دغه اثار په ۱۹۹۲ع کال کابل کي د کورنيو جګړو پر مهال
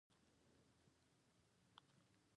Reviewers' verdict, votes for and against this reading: rejected, 0, 2